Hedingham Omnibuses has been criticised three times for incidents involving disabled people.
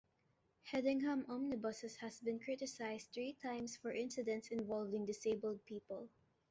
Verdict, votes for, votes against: accepted, 2, 0